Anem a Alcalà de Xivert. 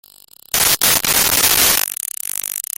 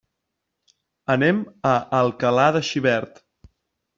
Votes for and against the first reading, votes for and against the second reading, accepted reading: 0, 2, 3, 0, second